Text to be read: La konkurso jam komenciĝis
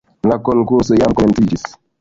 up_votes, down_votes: 1, 2